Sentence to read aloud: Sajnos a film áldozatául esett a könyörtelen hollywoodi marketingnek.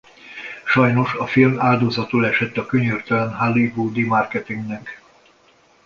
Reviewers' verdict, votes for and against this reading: rejected, 1, 2